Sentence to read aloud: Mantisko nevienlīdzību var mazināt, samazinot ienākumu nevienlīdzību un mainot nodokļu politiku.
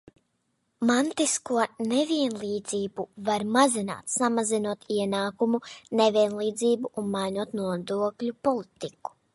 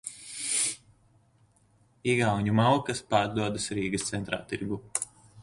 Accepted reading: first